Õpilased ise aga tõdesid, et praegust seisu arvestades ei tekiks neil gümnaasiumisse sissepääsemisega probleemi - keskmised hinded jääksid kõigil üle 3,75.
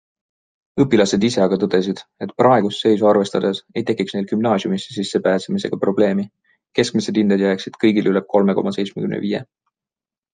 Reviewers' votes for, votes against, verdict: 0, 2, rejected